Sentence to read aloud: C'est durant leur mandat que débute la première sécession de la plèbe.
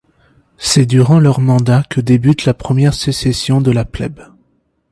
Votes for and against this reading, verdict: 2, 0, accepted